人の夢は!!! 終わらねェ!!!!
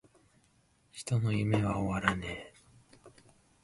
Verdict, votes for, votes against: rejected, 0, 2